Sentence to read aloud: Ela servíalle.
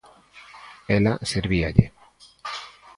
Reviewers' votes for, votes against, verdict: 2, 0, accepted